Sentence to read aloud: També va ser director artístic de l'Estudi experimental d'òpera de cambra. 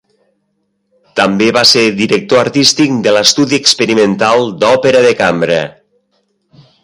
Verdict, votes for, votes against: accepted, 3, 0